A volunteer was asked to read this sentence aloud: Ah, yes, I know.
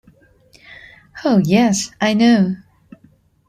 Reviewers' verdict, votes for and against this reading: accepted, 2, 1